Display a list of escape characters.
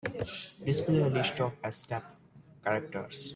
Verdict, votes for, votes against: rejected, 1, 2